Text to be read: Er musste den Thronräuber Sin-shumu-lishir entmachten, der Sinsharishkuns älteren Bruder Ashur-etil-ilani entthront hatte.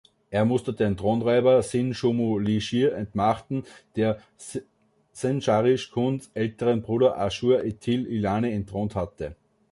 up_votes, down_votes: 1, 2